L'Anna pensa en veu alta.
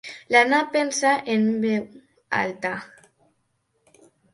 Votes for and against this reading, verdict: 1, 3, rejected